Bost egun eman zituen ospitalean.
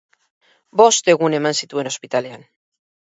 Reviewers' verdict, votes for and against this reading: accepted, 8, 2